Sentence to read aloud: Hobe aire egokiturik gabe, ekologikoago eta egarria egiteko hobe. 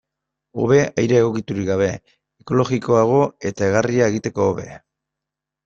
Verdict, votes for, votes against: accepted, 2, 1